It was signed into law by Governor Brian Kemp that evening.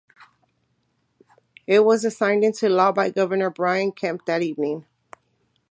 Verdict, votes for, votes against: rejected, 0, 2